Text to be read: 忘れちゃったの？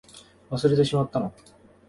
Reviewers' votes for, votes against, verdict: 0, 2, rejected